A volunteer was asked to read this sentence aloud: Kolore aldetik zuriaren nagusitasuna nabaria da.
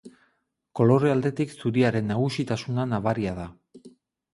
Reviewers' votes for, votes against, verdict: 4, 0, accepted